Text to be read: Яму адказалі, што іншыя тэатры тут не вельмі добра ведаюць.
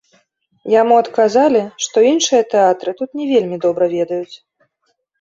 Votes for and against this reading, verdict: 2, 0, accepted